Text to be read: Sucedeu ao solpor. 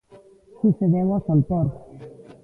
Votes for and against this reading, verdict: 1, 2, rejected